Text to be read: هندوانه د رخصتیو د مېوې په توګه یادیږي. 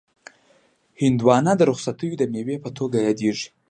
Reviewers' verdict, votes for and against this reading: accepted, 2, 0